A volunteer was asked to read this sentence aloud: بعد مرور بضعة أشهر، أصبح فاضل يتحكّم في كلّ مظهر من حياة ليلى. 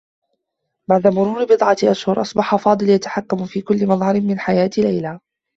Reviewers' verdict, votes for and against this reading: rejected, 1, 2